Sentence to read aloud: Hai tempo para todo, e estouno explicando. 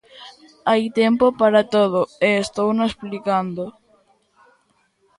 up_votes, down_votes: 2, 1